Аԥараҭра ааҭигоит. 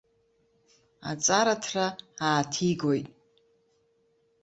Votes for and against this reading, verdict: 0, 2, rejected